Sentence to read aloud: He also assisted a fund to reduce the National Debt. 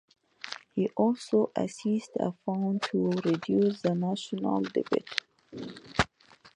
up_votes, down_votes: 1, 2